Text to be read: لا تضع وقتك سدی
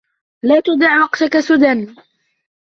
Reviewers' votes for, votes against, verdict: 2, 3, rejected